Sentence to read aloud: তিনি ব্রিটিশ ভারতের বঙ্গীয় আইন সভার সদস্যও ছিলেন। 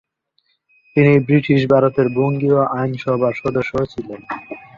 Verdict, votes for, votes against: accepted, 7, 0